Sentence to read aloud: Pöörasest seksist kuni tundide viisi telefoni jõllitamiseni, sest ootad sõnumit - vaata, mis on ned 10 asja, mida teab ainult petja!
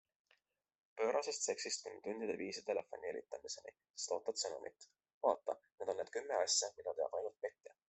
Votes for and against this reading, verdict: 0, 2, rejected